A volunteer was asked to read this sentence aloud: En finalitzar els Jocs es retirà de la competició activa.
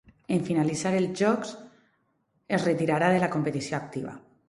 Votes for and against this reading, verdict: 0, 4, rejected